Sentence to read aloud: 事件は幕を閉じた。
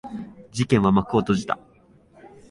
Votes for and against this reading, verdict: 8, 0, accepted